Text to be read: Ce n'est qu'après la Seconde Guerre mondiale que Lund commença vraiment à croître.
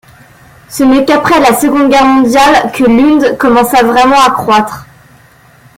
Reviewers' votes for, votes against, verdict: 2, 0, accepted